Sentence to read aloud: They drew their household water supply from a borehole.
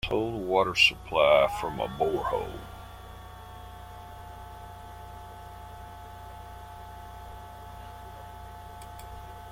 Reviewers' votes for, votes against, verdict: 0, 2, rejected